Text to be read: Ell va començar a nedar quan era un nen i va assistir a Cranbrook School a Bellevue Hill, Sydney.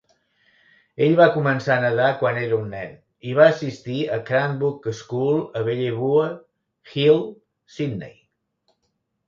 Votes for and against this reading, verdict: 1, 2, rejected